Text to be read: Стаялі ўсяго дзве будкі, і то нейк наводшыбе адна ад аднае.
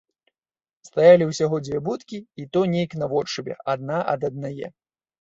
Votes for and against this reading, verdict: 2, 0, accepted